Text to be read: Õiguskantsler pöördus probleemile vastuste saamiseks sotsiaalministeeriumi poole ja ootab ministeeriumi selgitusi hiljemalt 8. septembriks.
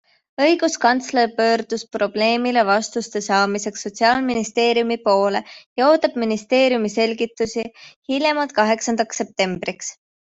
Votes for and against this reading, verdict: 0, 2, rejected